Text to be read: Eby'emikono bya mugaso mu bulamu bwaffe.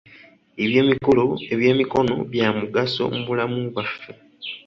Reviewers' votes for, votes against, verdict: 1, 2, rejected